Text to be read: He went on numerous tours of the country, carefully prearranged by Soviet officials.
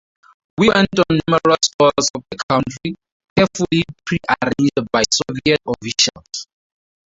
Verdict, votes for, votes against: rejected, 0, 2